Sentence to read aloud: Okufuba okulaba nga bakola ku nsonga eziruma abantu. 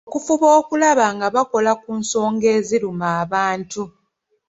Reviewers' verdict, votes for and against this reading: accepted, 2, 0